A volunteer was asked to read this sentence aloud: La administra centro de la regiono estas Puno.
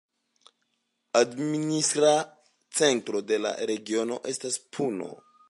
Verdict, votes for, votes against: accepted, 2, 0